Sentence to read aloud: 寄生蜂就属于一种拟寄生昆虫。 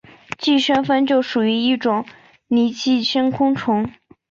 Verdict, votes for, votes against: accepted, 3, 1